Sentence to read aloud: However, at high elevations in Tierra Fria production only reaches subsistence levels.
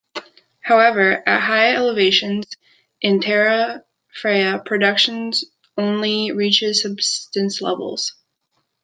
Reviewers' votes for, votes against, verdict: 0, 2, rejected